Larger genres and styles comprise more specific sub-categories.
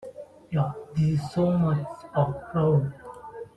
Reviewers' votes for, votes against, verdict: 0, 2, rejected